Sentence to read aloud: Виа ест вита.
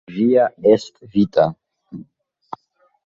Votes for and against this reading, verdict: 0, 3, rejected